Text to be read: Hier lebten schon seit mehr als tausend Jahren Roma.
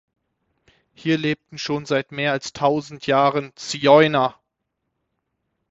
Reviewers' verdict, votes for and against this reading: rejected, 0, 6